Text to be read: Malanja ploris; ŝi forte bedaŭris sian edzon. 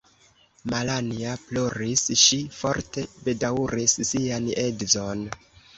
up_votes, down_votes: 1, 2